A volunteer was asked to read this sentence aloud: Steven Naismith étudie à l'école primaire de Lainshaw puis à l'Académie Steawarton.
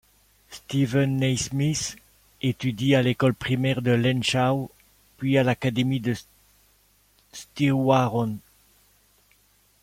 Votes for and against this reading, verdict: 1, 2, rejected